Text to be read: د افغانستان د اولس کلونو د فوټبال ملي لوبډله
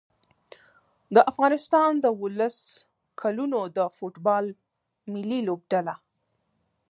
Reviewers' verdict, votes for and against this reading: accepted, 2, 0